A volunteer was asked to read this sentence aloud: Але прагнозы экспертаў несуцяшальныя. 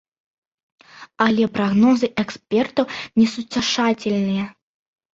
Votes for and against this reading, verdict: 0, 2, rejected